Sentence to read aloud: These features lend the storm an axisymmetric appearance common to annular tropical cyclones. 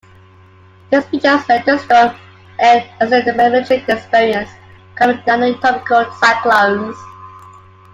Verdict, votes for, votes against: rejected, 0, 2